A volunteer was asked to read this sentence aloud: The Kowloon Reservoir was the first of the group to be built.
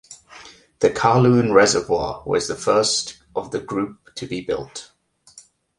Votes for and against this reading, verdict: 2, 0, accepted